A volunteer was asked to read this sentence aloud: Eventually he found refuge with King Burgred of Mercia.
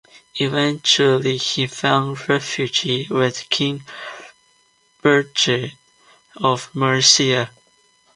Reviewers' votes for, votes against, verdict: 0, 2, rejected